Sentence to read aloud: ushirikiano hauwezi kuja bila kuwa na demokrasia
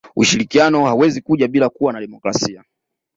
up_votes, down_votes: 2, 0